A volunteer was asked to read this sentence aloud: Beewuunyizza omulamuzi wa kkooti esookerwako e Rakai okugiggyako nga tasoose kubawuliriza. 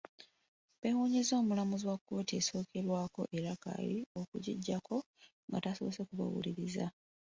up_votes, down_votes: 2, 1